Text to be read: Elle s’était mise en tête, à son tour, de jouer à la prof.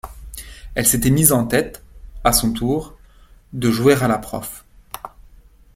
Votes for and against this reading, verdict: 2, 0, accepted